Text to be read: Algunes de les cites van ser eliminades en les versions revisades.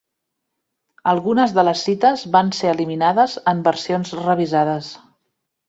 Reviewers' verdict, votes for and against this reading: rejected, 0, 2